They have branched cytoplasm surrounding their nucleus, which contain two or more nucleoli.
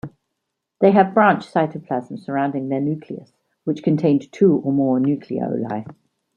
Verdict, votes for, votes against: rejected, 1, 2